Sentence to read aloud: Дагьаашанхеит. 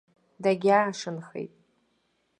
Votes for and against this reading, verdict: 2, 0, accepted